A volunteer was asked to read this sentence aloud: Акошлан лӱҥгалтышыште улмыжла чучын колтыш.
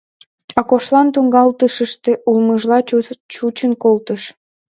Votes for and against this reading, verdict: 0, 2, rejected